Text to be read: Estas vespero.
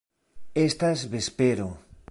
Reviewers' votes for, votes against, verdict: 2, 0, accepted